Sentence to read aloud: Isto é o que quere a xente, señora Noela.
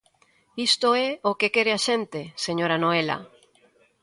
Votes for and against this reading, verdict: 1, 2, rejected